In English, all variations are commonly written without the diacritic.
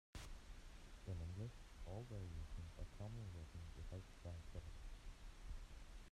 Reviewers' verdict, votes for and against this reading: rejected, 0, 2